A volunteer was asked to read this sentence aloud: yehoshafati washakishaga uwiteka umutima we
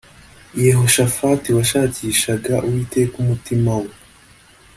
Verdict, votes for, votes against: accepted, 2, 0